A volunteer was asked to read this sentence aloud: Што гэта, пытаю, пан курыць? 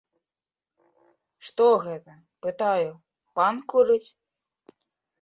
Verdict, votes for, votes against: accepted, 2, 0